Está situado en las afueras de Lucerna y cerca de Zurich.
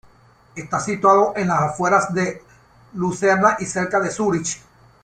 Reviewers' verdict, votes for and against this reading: rejected, 1, 2